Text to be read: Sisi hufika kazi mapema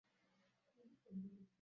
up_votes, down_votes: 0, 2